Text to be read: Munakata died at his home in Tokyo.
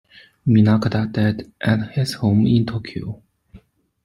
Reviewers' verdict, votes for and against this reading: rejected, 1, 2